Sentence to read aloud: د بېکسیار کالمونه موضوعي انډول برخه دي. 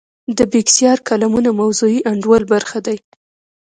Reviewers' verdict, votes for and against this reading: accepted, 2, 1